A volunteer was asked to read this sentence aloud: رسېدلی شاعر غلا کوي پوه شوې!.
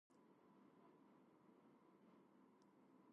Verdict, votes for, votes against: rejected, 1, 2